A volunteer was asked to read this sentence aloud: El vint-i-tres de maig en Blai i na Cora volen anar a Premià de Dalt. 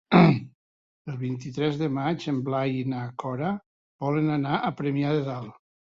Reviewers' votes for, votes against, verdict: 1, 2, rejected